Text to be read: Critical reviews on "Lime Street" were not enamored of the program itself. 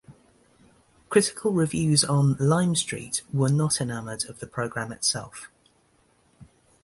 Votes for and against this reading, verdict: 2, 0, accepted